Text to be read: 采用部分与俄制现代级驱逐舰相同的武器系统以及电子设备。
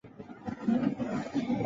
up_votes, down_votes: 0, 4